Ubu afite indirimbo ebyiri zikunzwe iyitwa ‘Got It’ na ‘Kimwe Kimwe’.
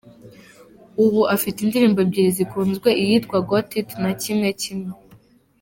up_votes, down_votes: 3, 1